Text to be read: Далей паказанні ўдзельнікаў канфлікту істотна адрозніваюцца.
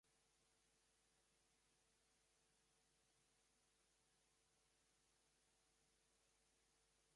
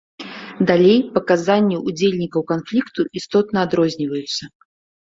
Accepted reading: second